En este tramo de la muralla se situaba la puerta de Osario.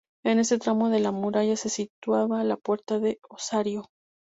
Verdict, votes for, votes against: accepted, 4, 2